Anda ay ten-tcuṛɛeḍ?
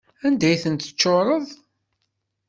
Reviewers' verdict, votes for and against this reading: rejected, 1, 2